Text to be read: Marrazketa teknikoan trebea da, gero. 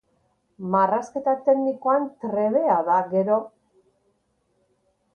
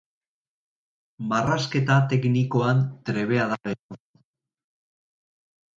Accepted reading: first